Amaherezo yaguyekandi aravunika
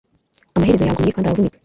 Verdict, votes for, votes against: rejected, 0, 2